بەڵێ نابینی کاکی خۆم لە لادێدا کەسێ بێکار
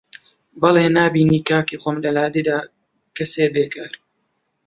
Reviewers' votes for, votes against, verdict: 2, 1, accepted